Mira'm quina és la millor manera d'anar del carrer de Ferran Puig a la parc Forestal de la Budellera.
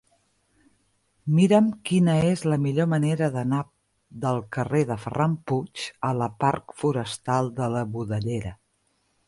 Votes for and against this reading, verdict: 0, 2, rejected